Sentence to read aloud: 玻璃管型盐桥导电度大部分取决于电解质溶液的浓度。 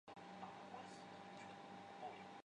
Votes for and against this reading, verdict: 1, 3, rejected